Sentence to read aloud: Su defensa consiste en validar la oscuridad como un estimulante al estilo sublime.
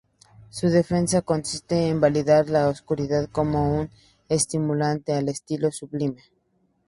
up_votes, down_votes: 2, 0